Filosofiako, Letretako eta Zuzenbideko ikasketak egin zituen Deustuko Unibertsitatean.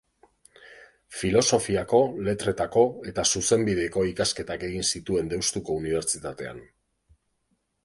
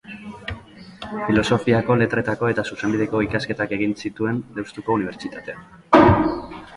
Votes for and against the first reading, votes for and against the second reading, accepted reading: 1, 2, 3, 0, second